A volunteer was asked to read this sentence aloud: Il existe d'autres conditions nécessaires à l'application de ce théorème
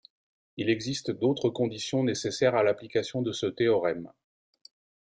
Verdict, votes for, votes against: accepted, 2, 0